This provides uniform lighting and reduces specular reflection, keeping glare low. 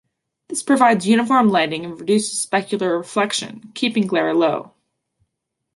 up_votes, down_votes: 2, 0